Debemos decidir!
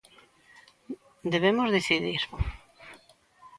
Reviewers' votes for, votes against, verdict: 2, 0, accepted